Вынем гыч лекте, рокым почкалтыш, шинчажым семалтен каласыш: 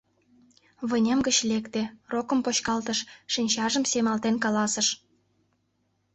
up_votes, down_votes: 2, 0